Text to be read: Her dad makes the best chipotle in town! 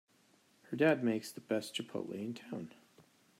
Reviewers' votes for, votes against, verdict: 2, 0, accepted